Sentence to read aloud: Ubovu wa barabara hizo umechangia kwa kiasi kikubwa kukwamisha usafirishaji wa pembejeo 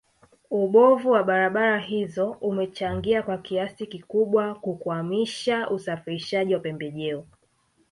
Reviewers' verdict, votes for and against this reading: accepted, 3, 1